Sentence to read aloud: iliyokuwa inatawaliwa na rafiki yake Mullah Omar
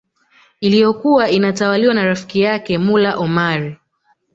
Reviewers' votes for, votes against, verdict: 0, 2, rejected